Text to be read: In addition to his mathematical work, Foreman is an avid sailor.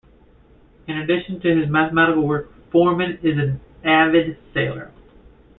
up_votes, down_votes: 2, 0